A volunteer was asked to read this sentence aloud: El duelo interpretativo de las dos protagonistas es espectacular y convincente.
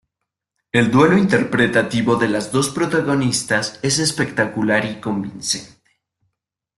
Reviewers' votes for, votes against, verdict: 1, 2, rejected